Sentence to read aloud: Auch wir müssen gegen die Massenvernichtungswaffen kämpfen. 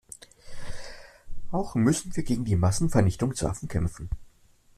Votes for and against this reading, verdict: 1, 2, rejected